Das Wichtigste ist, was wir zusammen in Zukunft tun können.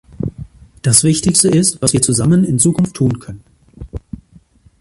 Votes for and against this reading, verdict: 3, 1, accepted